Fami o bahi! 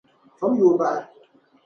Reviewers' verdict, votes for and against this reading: rejected, 0, 2